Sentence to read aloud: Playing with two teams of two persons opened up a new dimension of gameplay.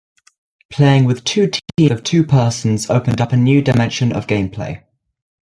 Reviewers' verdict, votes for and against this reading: rejected, 1, 2